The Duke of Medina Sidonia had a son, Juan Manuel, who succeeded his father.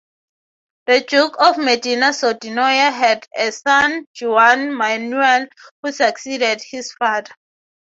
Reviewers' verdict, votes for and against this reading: accepted, 3, 0